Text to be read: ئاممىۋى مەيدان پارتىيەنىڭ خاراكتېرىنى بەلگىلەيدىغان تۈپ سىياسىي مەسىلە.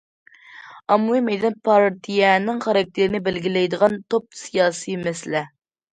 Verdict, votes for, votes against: rejected, 1, 2